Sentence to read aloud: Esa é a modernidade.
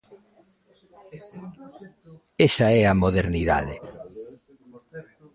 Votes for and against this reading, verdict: 1, 2, rejected